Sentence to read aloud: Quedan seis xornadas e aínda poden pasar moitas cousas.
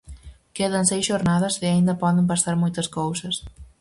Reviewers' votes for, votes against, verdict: 4, 0, accepted